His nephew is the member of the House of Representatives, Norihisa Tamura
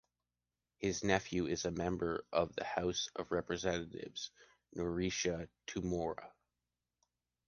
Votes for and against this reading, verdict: 0, 2, rejected